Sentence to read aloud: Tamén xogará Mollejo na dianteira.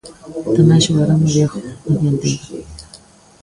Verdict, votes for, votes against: rejected, 0, 2